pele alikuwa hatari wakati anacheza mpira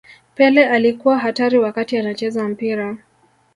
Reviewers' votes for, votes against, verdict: 2, 0, accepted